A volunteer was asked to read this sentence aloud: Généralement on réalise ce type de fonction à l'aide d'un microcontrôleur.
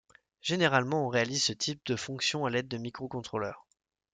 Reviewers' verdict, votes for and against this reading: rejected, 1, 2